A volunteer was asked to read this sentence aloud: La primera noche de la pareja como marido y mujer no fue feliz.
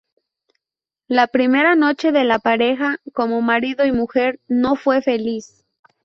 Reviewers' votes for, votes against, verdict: 2, 2, rejected